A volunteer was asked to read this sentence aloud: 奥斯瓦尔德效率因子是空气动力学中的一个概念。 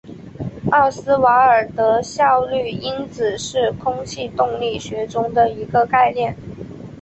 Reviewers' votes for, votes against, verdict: 5, 1, accepted